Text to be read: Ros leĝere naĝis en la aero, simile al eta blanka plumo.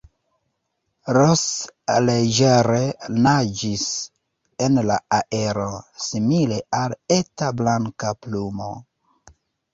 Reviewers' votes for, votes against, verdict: 1, 2, rejected